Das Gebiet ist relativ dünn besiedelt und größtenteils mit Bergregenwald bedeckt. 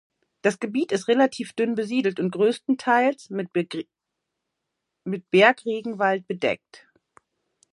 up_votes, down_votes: 0, 2